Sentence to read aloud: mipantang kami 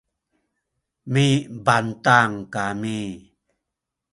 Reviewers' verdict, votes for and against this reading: rejected, 0, 2